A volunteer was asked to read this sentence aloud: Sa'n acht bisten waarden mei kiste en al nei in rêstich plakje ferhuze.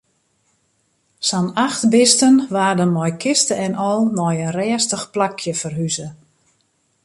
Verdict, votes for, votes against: accepted, 2, 0